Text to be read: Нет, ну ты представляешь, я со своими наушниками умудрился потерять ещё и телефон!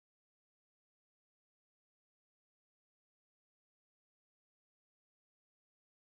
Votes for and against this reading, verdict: 0, 14, rejected